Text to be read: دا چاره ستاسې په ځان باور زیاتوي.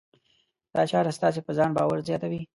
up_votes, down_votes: 2, 0